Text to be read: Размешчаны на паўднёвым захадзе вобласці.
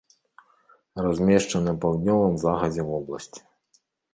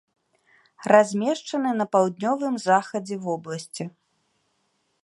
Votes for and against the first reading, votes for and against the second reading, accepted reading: 2, 3, 2, 1, second